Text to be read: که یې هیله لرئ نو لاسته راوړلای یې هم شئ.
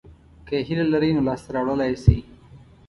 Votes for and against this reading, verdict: 1, 2, rejected